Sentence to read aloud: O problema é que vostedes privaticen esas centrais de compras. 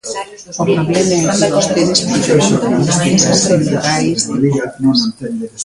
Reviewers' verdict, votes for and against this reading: rejected, 0, 2